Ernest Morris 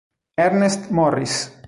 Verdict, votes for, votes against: accepted, 2, 0